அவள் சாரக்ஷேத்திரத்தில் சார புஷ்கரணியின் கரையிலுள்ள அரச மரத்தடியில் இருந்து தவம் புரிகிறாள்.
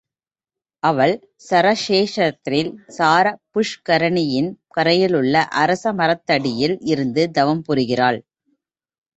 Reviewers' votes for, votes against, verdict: 0, 2, rejected